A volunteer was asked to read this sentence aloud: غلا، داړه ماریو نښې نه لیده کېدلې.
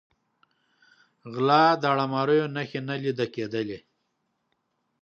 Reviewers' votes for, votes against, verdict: 2, 0, accepted